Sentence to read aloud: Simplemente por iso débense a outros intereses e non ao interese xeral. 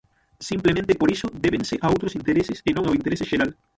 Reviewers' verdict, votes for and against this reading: rejected, 0, 6